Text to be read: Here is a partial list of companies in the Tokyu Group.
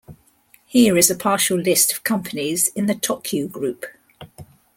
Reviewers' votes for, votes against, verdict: 2, 0, accepted